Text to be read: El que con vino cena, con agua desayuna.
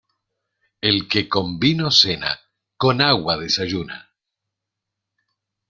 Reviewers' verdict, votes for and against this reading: accepted, 2, 0